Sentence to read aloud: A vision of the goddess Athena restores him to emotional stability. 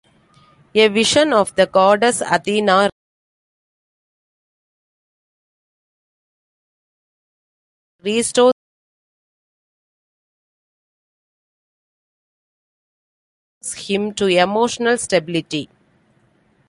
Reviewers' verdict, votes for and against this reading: rejected, 0, 2